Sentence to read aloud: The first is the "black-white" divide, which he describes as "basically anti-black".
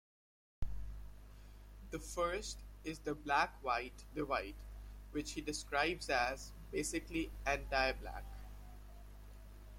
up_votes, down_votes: 0, 2